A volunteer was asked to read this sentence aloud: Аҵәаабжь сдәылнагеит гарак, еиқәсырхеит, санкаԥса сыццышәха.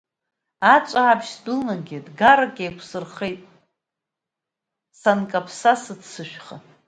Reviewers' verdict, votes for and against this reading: accepted, 2, 0